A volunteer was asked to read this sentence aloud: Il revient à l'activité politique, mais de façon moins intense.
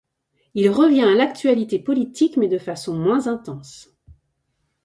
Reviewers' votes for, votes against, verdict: 0, 2, rejected